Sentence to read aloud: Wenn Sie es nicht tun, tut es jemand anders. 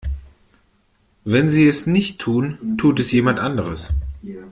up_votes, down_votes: 1, 2